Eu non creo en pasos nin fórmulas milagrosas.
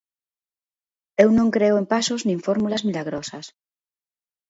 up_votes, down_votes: 2, 0